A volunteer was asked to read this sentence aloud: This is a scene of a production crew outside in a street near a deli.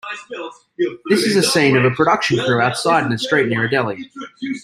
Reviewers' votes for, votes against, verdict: 0, 2, rejected